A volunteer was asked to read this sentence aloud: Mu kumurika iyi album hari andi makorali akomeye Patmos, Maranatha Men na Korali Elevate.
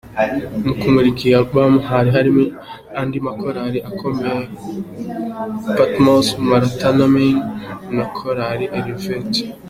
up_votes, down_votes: 2, 1